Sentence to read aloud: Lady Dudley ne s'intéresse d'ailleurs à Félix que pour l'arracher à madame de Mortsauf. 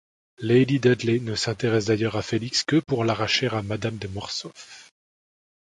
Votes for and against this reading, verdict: 2, 0, accepted